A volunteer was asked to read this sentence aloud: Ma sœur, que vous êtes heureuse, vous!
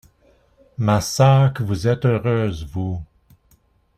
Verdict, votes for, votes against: accepted, 2, 0